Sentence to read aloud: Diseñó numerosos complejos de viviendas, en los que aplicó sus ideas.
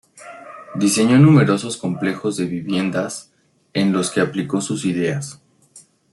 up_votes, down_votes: 2, 0